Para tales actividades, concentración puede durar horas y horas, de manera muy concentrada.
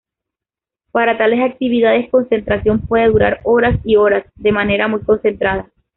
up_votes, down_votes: 2, 0